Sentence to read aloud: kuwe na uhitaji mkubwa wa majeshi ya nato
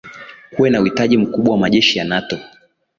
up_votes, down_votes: 2, 0